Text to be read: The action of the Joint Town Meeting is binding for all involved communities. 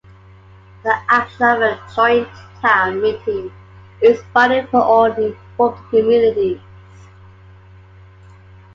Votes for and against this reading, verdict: 1, 2, rejected